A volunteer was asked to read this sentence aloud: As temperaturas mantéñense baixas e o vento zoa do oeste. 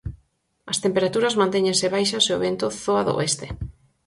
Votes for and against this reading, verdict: 4, 0, accepted